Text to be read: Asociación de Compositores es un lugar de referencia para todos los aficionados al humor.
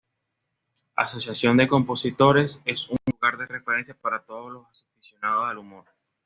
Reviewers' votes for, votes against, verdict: 1, 2, rejected